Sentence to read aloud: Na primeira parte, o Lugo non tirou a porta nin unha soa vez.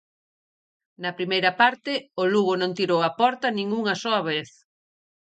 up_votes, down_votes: 4, 0